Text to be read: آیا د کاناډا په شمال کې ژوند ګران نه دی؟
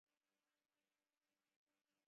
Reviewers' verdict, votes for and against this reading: rejected, 0, 2